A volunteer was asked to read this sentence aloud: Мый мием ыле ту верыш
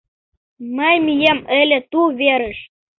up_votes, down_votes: 2, 0